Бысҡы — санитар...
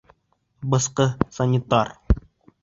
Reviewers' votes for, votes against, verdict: 3, 0, accepted